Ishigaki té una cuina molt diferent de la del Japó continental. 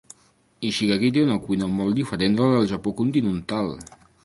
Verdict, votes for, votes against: rejected, 0, 2